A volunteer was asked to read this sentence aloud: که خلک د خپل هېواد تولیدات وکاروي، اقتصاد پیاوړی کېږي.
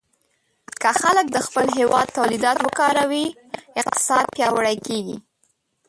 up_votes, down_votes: 0, 2